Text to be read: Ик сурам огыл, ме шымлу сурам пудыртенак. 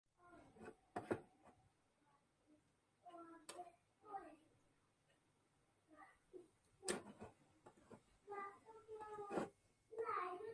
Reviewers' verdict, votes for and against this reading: rejected, 0, 2